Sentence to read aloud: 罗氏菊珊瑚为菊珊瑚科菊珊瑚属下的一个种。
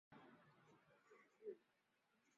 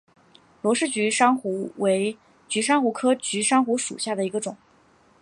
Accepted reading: second